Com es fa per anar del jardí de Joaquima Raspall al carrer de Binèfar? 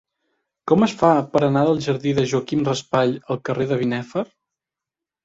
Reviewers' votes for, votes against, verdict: 1, 2, rejected